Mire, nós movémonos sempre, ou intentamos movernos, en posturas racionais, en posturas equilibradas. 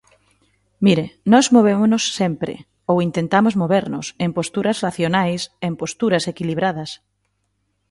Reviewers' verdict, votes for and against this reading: accepted, 2, 0